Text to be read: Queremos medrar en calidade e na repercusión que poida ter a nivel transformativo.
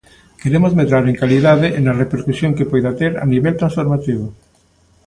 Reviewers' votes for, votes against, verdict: 2, 0, accepted